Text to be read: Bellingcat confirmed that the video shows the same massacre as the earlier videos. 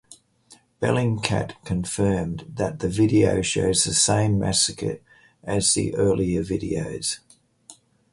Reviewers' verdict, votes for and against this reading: accepted, 4, 0